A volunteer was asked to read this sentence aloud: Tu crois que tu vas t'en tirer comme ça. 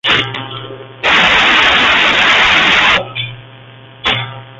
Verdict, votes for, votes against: rejected, 0, 2